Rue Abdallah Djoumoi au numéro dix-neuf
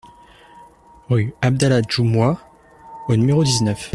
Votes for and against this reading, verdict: 2, 0, accepted